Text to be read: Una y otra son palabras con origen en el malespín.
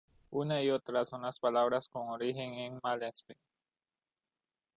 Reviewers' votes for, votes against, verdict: 0, 2, rejected